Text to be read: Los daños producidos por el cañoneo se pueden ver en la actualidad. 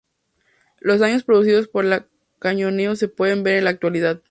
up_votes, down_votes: 0, 2